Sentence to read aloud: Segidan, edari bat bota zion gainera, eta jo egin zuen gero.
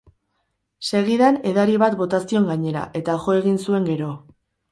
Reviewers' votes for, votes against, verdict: 2, 2, rejected